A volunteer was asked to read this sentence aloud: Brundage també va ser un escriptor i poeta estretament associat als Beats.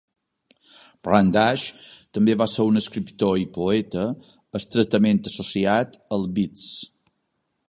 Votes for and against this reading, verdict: 1, 3, rejected